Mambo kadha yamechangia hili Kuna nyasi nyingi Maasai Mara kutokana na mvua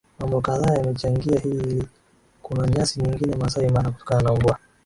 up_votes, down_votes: 4, 6